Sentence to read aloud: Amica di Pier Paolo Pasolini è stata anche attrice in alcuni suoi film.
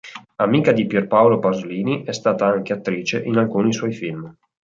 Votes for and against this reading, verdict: 2, 0, accepted